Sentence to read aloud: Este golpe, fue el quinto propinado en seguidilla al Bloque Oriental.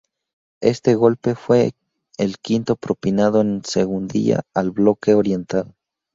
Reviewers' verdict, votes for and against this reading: rejected, 0, 2